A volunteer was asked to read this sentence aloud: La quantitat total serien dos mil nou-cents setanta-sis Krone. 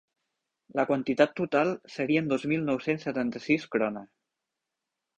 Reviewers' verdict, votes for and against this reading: accepted, 2, 0